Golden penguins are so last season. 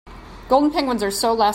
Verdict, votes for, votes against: rejected, 0, 3